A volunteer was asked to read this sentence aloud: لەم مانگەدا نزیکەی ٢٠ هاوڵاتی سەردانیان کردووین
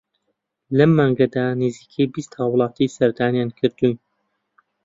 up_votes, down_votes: 0, 2